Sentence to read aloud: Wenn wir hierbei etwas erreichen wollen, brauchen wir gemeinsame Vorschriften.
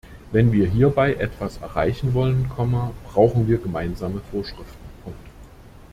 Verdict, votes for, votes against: rejected, 0, 2